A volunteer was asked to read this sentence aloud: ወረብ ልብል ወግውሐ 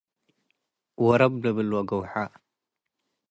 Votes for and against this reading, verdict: 2, 0, accepted